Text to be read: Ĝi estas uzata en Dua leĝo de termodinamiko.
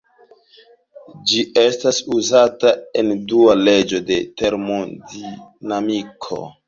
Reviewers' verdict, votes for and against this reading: rejected, 0, 2